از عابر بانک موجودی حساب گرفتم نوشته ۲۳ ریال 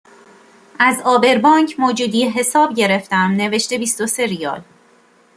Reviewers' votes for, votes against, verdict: 0, 2, rejected